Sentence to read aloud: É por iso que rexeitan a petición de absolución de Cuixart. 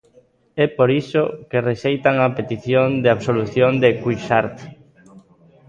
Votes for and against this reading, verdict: 2, 0, accepted